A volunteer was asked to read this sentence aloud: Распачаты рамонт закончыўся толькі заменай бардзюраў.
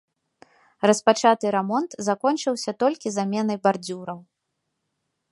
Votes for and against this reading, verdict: 2, 0, accepted